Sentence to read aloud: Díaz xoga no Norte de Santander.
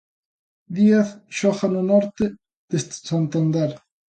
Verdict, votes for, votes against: rejected, 0, 2